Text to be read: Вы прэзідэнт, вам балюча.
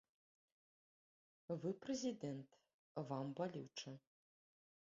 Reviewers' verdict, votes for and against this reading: rejected, 1, 2